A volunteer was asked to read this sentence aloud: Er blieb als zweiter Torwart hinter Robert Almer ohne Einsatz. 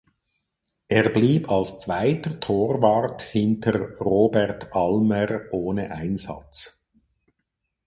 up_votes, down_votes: 4, 0